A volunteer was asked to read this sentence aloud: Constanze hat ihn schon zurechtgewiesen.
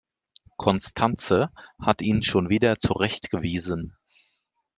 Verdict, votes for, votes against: rejected, 0, 2